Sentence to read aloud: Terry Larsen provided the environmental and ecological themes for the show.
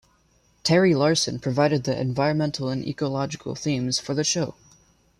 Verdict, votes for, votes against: accepted, 2, 0